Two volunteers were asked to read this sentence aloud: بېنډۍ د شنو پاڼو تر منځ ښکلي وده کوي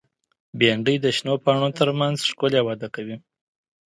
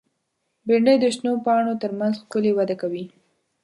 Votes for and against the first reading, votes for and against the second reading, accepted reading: 2, 0, 1, 2, first